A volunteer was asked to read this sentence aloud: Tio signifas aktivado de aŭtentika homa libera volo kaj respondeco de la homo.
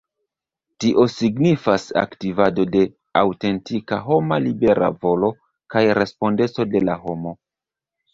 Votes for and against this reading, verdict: 0, 2, rejected